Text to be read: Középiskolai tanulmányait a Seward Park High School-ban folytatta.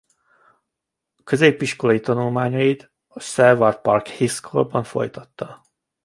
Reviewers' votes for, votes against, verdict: 1, 2, rejected